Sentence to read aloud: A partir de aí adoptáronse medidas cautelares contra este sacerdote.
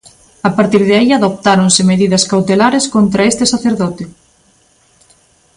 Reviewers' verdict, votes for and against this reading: accepted, 2, 0